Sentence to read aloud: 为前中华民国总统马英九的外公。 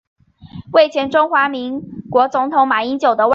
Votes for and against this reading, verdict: 1, 5, rejected